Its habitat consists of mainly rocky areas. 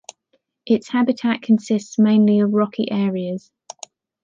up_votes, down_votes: 2, 3